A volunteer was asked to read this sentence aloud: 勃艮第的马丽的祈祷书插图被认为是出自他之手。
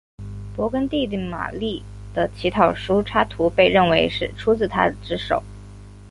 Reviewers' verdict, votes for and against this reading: accepted, 5, 1